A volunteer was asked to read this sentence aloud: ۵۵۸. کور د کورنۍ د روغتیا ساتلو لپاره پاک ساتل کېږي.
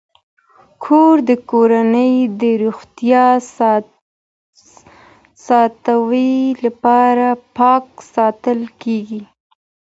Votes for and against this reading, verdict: 0, 2, rejected